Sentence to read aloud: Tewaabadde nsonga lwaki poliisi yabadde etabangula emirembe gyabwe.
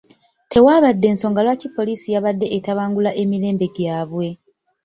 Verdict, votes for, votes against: rejected, 0, 2